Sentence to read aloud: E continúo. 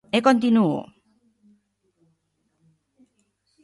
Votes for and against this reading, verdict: 2, 0, accepted